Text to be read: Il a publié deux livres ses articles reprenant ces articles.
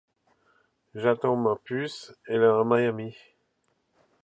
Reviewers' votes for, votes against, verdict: 0, 2, rejected